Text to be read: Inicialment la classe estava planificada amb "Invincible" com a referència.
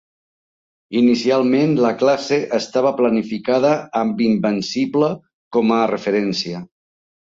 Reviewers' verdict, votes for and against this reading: rejected, 0, 2